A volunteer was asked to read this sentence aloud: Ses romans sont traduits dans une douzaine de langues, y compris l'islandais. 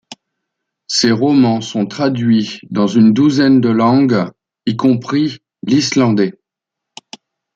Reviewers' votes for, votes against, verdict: 2, 0, accepted